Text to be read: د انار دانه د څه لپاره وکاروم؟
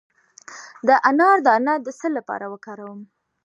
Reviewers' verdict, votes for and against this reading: accepted, 2, 0